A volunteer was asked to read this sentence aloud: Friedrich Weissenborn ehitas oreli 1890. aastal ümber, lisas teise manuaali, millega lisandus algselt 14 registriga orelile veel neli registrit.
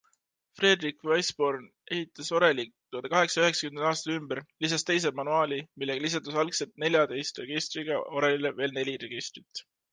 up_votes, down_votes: 0, 2